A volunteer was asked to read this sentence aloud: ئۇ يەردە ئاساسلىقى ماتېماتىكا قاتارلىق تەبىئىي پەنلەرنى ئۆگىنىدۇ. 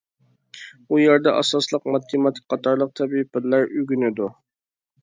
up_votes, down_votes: 1, 2